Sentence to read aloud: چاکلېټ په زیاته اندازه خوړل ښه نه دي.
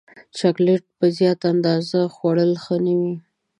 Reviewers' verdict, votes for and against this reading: accepted, 2, 0